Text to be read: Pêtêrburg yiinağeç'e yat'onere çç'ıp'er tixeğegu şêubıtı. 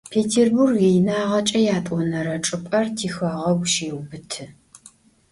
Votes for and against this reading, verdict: 2, 0, accepted